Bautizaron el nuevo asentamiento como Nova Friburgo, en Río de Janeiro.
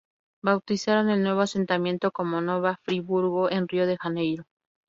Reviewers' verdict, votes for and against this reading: accepted, 2, 0